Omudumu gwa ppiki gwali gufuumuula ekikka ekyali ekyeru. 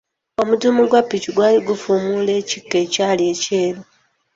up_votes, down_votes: 0, 2